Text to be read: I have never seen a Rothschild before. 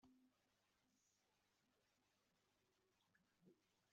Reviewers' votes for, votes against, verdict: 0, 2, rejected